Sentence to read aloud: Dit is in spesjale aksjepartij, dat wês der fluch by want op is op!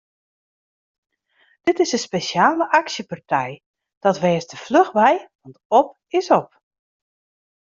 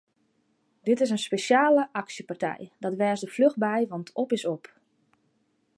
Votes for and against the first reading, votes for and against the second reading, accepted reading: 1, 2, 2, 0, second